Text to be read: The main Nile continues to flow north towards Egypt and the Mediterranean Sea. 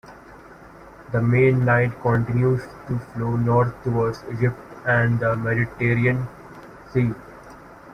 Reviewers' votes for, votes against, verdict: 1, 2, rejected